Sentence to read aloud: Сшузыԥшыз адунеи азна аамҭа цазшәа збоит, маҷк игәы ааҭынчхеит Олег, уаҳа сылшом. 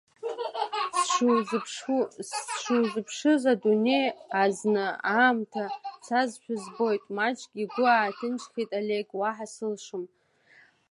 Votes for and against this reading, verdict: 1, 2, rejected